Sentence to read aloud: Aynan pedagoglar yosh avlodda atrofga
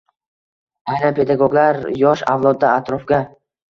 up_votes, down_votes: 2, 0